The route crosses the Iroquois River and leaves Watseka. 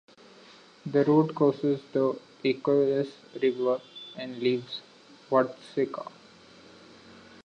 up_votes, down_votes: 0, 2